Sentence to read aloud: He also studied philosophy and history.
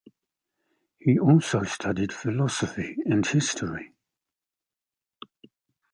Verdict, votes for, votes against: accepted, 2, 0